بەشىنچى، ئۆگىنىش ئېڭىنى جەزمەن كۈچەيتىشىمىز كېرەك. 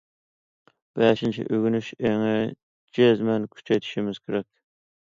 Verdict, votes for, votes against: rejected, 0, 2